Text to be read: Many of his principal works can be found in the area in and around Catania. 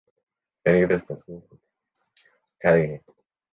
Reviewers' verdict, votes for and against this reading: rejected, 0, 2